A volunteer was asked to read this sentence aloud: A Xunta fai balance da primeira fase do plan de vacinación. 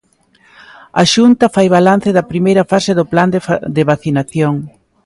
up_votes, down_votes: 0, 2